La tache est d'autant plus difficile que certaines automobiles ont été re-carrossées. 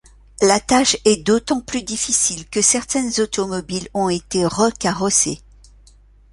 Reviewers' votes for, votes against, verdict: 2, 0, accepted